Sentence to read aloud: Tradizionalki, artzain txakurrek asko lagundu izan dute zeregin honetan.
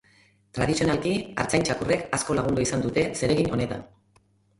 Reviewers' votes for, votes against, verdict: 2, 0, accepted